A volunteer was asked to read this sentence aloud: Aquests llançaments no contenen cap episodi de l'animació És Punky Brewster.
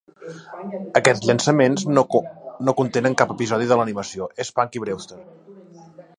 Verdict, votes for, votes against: rejected, 1, 2